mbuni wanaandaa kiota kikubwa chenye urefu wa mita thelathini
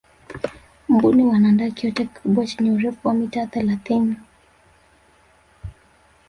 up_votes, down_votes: 1, 2